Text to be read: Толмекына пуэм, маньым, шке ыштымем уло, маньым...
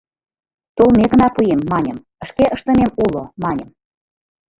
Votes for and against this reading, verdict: 1, 2, rejected